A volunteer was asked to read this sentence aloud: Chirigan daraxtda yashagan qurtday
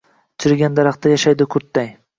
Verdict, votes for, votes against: rejected, 0, 2